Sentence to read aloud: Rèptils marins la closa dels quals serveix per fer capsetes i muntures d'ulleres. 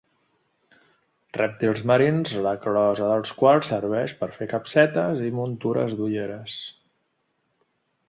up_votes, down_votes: 2, 0